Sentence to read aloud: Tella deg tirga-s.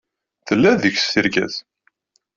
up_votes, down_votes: 0, 2